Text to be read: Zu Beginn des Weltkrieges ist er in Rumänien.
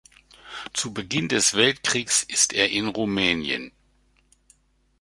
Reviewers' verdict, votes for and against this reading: accepted, 2, 0